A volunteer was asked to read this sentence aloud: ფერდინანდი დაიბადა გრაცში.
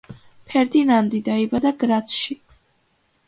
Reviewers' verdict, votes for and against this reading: accepted, 2, 0